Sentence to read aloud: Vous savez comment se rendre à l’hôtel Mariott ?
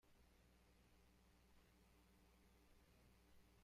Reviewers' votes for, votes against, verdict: 0, 2, rejected